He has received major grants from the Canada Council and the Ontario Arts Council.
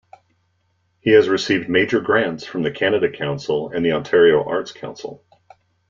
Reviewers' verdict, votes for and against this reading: accepted, 2, 0